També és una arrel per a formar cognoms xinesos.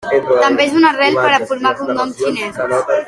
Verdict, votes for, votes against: accepted, 2, 1